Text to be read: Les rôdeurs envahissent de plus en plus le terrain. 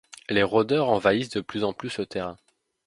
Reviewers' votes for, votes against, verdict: 2, 0, accepted